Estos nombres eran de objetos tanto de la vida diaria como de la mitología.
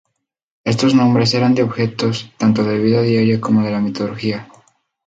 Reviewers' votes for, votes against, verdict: 0, 2, rejected